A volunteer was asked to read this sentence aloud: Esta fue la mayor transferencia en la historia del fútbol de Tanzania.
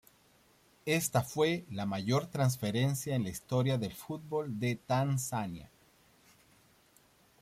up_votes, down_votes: 0, 2